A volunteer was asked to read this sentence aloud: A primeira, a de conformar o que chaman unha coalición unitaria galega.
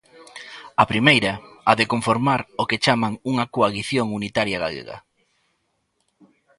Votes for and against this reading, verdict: 1, 2, rejected